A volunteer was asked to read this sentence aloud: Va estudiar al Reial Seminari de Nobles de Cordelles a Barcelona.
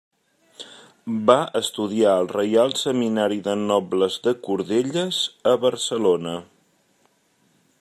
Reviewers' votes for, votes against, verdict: 3, 0, accepted